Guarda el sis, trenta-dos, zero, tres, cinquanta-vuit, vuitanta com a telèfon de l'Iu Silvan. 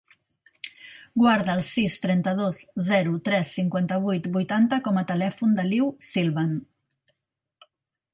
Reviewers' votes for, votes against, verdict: 2, 0, accepted